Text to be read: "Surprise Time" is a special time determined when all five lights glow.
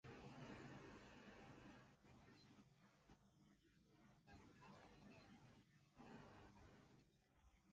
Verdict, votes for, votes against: rejected, 0, 2